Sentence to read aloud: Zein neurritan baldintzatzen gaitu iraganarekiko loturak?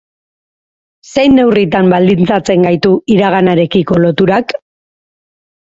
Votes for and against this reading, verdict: 4, 0, accepted